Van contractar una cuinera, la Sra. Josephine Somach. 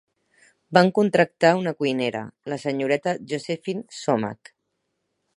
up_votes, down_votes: 2, 4